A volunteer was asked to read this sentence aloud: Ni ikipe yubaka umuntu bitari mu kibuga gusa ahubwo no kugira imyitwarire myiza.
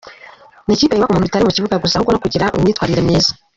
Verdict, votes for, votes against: rejected, 1, 2